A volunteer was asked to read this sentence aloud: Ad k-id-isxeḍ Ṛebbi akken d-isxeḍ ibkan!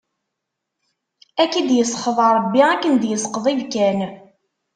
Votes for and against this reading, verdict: 1, 2, rejected